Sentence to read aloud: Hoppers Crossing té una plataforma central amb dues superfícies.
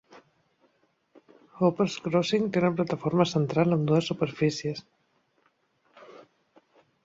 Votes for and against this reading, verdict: 1, 2, rejected